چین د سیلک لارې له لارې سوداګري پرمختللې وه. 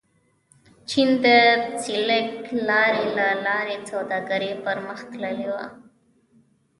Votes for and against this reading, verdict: 0, 2, rejected